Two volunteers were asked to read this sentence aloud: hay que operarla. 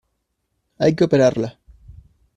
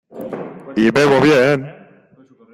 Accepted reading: first